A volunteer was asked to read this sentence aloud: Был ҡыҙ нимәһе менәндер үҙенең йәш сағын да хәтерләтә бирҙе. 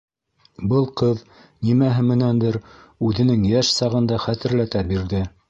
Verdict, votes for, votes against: accepted, 2, 0